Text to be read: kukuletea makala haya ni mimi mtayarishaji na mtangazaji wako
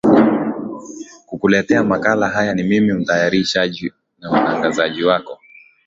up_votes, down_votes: 6, 0